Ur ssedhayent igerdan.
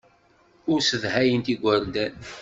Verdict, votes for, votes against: accepted, 2, 0